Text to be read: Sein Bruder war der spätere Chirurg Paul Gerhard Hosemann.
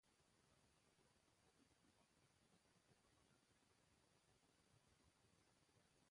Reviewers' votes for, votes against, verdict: 0, 2, rejected